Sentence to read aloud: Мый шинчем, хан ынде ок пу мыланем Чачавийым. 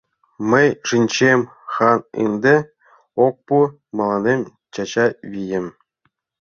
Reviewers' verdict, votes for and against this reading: rejected, 0, 2